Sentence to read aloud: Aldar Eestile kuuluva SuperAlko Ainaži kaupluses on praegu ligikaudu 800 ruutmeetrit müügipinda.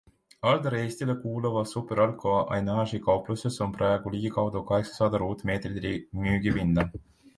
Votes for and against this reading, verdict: 0, 2, rejected